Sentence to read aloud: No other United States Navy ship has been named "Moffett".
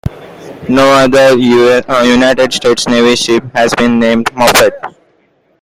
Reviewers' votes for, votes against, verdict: 1, 2, rejected